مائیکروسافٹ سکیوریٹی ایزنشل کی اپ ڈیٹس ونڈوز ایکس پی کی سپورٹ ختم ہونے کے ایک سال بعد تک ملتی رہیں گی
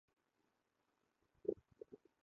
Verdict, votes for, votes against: rejected, 3, 6